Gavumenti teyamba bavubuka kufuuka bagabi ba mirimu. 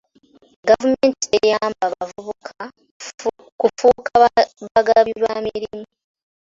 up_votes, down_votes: 2, 1